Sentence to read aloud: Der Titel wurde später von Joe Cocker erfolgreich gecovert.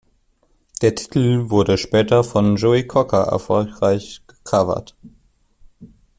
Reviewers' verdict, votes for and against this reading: rejected, 1, 2